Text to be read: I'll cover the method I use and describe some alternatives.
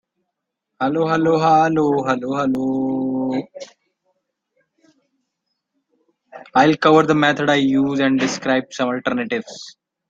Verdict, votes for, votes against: rejected, 1, 2